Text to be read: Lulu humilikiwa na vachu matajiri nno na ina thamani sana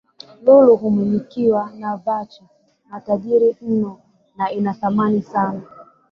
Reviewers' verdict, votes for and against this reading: rejected, 1, 2